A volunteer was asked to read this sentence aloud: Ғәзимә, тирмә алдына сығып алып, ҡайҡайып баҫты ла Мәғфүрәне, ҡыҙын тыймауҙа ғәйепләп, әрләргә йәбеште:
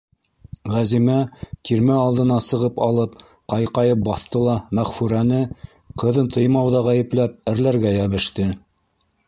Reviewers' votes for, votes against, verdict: 1, 2, rejected